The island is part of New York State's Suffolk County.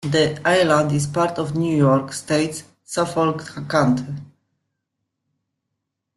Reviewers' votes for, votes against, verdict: 2, 1, accepted